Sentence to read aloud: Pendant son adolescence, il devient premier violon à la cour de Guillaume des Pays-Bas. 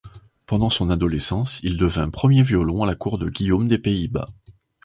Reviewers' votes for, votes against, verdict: 1, 2, rejected